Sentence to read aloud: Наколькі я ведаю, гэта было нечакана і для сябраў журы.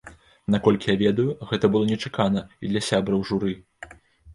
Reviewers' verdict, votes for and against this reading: accepted, 2, 0